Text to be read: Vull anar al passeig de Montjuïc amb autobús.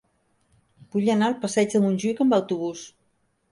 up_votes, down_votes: 3, 0